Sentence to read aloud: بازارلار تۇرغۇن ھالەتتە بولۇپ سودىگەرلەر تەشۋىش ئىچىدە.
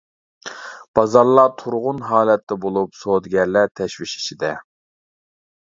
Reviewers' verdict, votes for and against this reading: accepted, 2, 0